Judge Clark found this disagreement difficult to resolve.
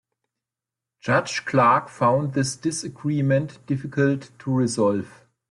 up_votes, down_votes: 2, 0